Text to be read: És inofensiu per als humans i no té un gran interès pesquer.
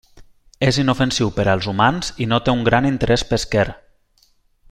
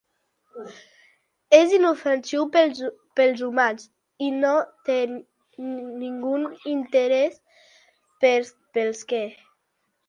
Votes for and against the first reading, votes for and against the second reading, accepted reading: 3, 0, 0, 2, first